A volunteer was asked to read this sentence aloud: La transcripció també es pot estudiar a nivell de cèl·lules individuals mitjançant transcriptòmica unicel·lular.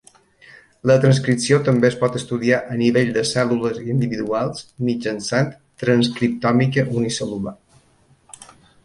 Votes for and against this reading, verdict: 1, 2, rejected